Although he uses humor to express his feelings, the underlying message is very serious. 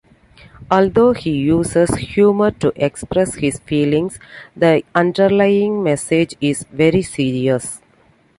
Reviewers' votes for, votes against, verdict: 1, 2, rejected